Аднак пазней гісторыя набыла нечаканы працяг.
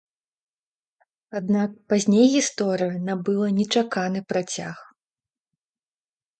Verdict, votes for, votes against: rejected, 1, 2